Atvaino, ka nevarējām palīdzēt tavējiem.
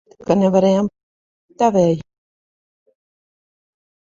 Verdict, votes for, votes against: rejected, 0, 2